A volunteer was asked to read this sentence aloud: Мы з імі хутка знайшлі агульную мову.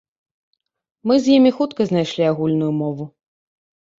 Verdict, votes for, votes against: accepted, 2, 0